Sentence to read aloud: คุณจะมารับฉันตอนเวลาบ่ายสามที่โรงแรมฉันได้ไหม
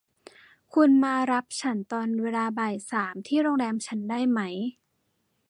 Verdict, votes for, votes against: rejected, 1, 2